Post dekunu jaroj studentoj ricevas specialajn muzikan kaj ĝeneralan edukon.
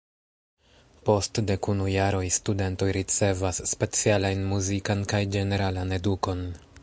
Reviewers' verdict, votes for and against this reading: accepted, 2, 0